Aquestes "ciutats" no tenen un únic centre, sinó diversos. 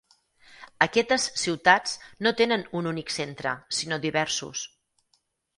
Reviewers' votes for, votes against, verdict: 0, 4, rejected